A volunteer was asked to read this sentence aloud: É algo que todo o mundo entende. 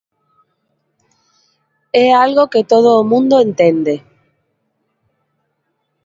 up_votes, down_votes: 2, 1